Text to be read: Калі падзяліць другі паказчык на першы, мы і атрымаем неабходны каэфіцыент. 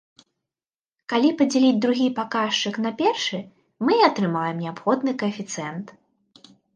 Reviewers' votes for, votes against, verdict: 2, 0, accepted